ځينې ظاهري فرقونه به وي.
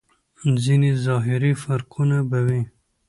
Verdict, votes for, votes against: accepted, 2, 0